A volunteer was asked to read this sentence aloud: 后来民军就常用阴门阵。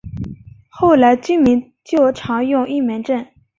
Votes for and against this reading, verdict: 0, 3, rejected